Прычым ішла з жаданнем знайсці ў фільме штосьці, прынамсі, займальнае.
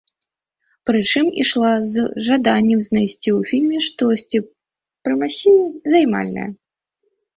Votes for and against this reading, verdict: 0, 2, rejected